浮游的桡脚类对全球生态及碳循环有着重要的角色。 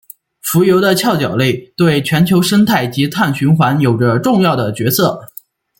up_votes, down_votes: 2, 0